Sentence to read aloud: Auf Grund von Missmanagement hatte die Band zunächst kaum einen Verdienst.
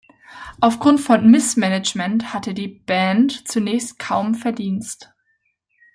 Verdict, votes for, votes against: rejected, 1, 2